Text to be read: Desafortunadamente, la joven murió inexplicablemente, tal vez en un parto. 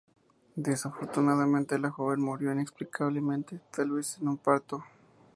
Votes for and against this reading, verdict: 2, 0, accepted